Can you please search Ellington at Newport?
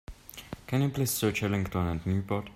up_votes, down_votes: 3, 0